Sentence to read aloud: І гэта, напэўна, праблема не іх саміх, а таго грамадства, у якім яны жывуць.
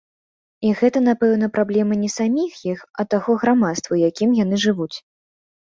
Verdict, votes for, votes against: rejected, 1, 2